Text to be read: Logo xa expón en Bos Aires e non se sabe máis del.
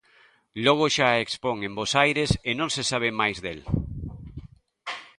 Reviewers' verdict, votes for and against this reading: accepted, 2, 0